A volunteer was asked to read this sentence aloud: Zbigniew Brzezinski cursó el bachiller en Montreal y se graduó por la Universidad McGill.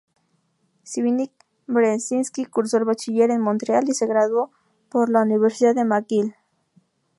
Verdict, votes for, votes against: rejected, 0, 2